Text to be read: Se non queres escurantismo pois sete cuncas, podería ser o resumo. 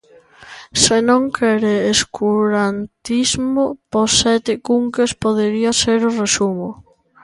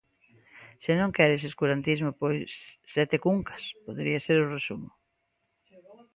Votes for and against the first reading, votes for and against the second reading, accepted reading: 0, 2, 2, 1, second